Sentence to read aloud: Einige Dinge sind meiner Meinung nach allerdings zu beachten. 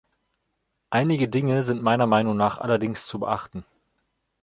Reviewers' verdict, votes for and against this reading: accepted, 2, 0